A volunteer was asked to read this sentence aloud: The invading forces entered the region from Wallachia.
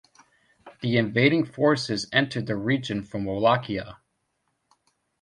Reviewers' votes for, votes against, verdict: 1, 2, rejected